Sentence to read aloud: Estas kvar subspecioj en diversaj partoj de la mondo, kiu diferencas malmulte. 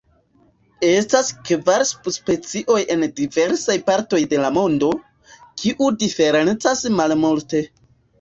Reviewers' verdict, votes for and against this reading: rejected, 1, 3